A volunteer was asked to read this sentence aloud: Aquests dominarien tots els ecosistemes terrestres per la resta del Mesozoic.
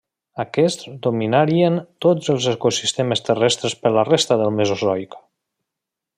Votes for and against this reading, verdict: 1, 2, rejected